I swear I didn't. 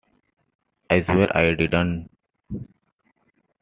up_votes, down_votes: 0, 2